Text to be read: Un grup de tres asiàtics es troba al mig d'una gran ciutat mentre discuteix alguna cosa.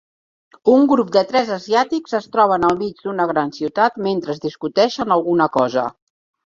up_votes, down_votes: 0, 2